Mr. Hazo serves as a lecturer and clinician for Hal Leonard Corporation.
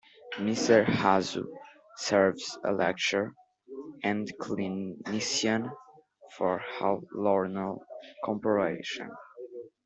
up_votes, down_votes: 0, 2